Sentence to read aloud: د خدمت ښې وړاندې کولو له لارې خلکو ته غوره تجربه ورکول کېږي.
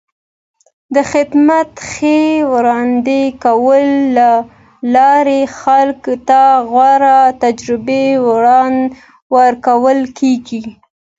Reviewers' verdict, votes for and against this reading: accepted, 2, 0